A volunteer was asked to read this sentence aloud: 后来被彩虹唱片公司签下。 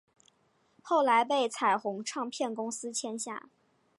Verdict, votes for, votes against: accepted, 5, 0